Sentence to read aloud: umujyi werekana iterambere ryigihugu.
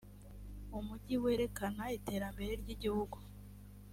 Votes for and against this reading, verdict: 2, 0, accepted